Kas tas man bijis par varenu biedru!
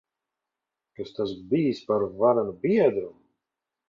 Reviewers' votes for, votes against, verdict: 0, 2, rejected